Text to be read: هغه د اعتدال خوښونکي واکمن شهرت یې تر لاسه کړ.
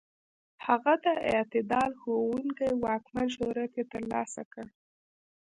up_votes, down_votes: 1, 2